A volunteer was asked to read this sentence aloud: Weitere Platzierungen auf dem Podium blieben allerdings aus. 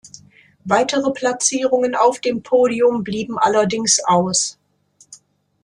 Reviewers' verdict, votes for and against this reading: accepted, 2, 0